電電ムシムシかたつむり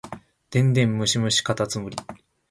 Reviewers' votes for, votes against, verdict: 2, 0, accepted